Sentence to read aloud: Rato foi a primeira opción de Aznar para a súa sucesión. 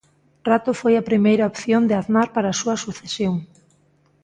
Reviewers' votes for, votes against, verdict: 2, 0, accepted